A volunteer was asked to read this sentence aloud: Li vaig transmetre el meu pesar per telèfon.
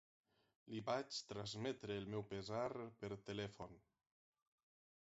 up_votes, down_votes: 6, 0